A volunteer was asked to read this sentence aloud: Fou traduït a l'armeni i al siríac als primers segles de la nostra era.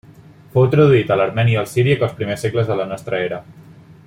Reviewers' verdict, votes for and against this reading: rejected, 0, 2